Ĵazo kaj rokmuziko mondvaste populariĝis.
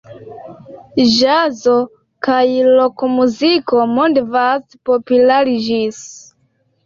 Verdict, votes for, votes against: rejected, 2, 3